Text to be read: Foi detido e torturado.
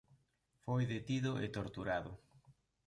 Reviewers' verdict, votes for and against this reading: accepted, 2, 0